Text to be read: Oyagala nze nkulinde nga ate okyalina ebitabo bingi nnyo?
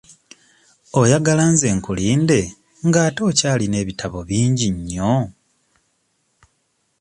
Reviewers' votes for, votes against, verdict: 2, 0, accepted